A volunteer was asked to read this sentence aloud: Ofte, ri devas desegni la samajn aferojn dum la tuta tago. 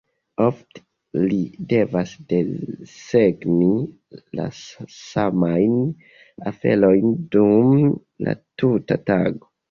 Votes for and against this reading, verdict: 1, 2, rejected